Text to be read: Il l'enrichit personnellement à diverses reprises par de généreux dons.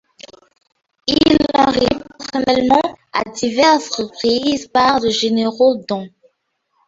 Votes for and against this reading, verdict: 1, 2, rejected